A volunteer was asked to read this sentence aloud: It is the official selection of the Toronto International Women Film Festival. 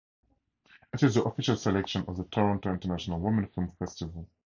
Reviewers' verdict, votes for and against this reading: rejected, 2, 4